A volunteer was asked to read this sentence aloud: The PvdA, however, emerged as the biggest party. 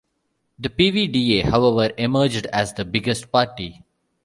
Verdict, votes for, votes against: accepted, 2, 0